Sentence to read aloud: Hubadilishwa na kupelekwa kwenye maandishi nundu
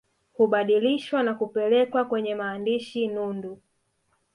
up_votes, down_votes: 0, 2